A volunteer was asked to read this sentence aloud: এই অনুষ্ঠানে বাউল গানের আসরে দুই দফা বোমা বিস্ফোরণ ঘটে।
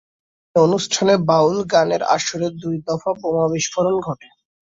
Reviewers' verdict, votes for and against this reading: rejected, 1, 2